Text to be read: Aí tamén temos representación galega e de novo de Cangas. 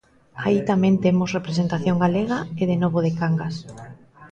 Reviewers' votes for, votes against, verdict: 2, 0, accepted